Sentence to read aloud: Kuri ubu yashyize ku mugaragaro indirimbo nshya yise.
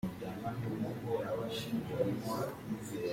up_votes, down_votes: 0, 2